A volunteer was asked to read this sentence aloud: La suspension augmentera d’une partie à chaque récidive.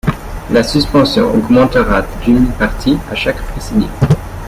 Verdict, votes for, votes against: rejected, 1, 2